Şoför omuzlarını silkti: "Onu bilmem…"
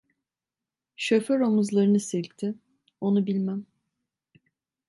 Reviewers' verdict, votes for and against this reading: accepted, 2, 0